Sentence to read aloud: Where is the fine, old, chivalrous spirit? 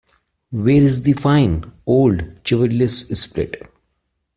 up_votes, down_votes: 0, 2